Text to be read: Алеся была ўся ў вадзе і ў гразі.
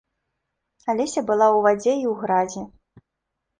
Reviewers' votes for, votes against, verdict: 1, 2, rejected